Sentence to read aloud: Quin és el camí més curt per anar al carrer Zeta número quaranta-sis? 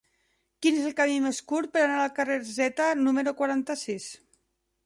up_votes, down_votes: 0, 2